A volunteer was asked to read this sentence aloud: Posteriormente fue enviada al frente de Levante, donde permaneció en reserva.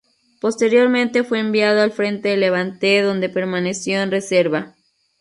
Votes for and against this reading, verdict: 0, 2, rejected